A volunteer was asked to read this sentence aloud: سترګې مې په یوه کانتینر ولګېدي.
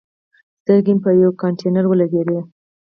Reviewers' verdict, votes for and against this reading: accepted, 4, 2